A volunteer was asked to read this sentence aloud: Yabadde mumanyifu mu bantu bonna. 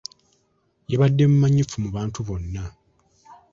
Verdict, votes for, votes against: accepted, 2, 0